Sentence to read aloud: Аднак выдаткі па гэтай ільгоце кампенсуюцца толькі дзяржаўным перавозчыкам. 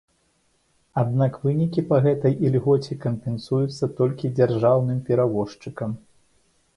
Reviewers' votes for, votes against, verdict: 0, 2, rejected